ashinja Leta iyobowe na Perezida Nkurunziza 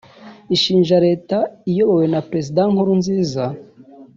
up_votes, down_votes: 0, 2